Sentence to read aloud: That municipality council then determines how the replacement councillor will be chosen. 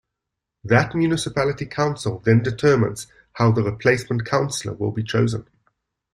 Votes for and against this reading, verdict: 2, 0, accepted